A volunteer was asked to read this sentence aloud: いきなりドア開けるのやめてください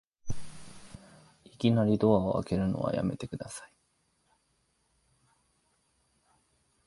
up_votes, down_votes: 1, 2